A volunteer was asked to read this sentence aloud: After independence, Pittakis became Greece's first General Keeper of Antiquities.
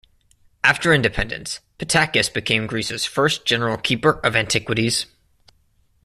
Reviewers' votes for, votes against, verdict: 2, 0, accepted